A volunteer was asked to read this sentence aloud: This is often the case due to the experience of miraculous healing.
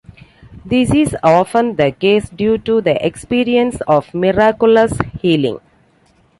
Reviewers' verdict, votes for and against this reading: accepted, 2, 0